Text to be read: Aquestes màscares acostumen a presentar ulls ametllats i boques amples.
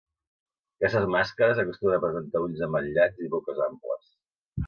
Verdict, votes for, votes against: accepted, 2, 1